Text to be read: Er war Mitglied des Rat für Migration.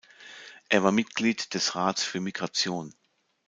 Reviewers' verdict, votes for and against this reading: rejected, 0, 2